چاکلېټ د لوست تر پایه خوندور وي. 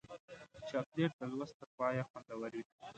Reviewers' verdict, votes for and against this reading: accepted, 2, 0